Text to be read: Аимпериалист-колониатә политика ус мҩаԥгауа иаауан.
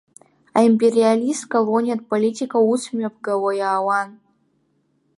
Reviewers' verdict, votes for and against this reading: accepted, 2, 1